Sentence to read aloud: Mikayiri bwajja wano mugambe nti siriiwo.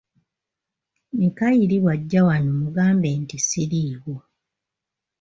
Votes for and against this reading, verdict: 2, 0, accepted